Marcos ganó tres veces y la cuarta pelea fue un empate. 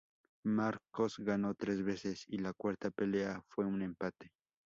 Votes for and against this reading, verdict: 2, 0, accepted